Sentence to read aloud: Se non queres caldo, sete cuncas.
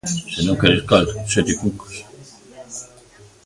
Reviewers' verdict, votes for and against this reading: rejected, 0, 2